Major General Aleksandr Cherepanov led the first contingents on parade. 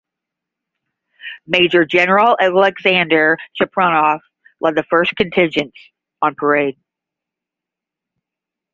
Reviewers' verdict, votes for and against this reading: accepted, 10, 5